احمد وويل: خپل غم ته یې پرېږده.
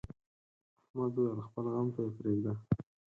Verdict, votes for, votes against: accepted, 4, 0